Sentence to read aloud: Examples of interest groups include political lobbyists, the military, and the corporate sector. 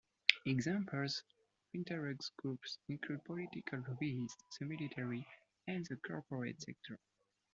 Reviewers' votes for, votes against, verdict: 2, 1, accepted